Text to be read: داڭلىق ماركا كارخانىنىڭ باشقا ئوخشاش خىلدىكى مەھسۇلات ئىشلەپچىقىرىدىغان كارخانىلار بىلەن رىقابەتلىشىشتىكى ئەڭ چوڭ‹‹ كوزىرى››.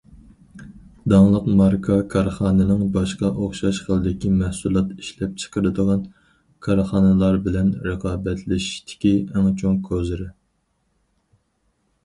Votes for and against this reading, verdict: 4, 0, accepted